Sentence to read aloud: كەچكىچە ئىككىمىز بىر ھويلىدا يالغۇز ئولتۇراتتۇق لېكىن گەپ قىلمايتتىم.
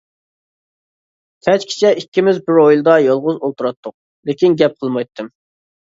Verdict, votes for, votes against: accepted, 2, 0